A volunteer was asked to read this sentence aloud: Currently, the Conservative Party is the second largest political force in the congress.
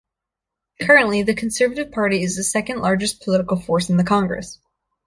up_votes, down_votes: 2, 0